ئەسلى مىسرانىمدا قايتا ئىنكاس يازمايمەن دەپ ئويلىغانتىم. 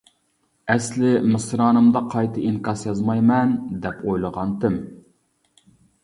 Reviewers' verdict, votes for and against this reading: accepted, 2, 0